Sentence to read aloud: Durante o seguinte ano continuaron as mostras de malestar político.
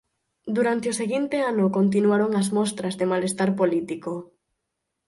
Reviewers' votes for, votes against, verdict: 8, 0, accepted